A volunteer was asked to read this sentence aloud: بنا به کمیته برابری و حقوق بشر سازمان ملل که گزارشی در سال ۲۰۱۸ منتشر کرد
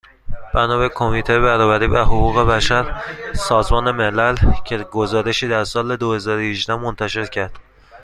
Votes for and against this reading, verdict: 0, 2, rejected